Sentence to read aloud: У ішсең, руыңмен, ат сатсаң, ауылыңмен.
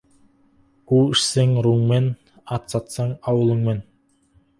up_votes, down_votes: 4, 2